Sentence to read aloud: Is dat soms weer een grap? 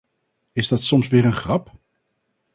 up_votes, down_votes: 4, 0